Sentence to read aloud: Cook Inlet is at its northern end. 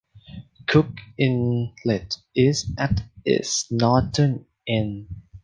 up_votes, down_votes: 2, 1